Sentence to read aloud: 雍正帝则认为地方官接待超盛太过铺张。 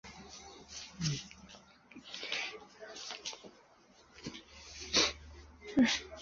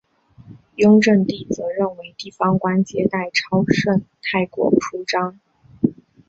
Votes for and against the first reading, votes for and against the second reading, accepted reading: 1, 2, 3, 0, second